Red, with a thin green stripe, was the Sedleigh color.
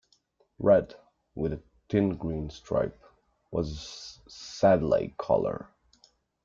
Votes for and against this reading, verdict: 2, 0, accepted